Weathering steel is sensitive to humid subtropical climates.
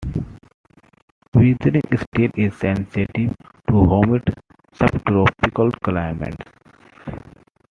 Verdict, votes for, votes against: accepted, 2, 0